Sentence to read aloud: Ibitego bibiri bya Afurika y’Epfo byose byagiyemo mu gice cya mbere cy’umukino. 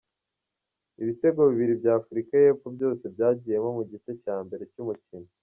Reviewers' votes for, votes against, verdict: 2, 0, accepted